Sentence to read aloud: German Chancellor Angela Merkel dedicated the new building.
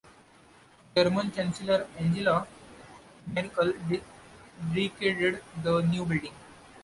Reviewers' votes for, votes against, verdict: 1, 2, rejected